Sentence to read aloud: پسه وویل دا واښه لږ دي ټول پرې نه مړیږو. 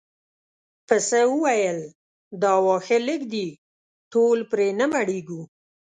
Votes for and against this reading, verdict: 2, 0, accepted